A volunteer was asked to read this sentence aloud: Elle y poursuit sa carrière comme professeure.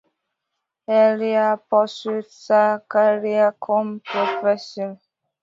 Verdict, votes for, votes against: rejected, 1, 2